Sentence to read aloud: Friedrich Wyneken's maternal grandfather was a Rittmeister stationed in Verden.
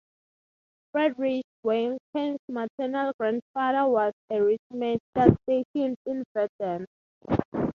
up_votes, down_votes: 3, 0